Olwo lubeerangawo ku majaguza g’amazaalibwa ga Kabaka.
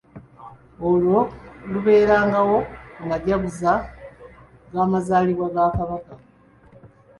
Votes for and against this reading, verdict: 2, 0, accepted